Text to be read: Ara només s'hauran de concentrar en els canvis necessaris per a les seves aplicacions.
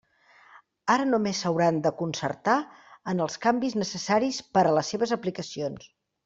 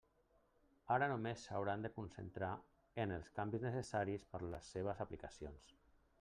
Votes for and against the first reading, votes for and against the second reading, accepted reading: 0, 2, 3, 1, second